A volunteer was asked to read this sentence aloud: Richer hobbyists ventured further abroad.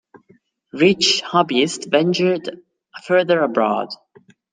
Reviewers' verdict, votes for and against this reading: rejected, 1, 2